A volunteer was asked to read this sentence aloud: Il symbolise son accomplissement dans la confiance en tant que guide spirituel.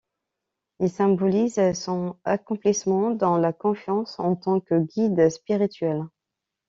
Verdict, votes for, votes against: accepted, 2, 0